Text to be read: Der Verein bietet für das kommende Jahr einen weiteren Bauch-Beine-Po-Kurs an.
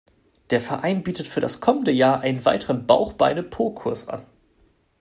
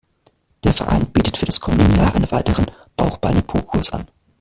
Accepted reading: first